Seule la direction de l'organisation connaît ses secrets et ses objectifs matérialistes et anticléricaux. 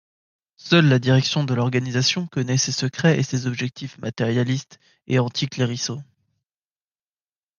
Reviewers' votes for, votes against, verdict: 0, 2, rejected